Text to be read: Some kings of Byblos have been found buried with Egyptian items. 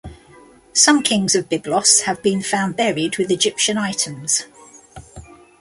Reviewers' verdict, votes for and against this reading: accepted, 2, 0